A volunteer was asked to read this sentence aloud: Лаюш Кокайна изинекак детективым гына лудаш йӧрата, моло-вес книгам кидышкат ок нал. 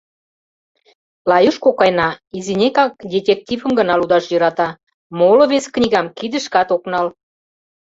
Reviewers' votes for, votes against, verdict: 1, 2, rejected